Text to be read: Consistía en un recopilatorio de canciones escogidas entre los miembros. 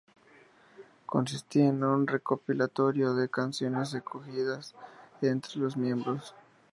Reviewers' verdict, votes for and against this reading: accepted, 2, 0